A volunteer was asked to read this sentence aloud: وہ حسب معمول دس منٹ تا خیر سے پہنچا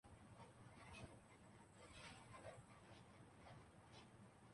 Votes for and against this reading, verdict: 0, 2, rejected